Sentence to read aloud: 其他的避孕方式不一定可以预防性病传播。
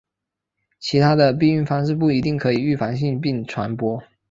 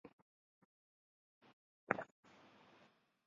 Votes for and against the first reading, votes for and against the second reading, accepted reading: 2, 1, 0, 4, first